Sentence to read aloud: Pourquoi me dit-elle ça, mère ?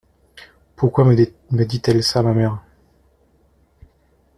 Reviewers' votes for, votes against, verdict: 0, 2, rejected